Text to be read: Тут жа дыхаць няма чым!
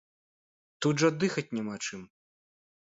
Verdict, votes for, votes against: accepted, 2, 0